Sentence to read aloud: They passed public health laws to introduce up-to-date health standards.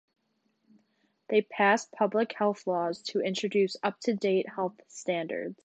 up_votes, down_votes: 2, 1